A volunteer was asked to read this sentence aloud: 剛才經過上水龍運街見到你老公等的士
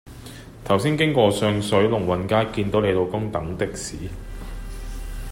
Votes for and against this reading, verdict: 1, 3, rejected